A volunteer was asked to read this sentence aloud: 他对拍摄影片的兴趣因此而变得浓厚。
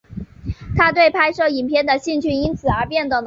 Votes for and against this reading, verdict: 2, 3, rejected